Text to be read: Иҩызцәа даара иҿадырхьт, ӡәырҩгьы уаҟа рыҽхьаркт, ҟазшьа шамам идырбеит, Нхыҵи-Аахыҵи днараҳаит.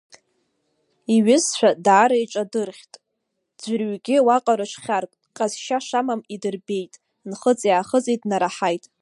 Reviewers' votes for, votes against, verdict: 1, 2, rejected